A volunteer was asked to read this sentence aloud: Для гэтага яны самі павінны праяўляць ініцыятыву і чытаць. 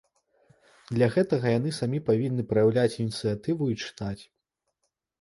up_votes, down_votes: 1, 2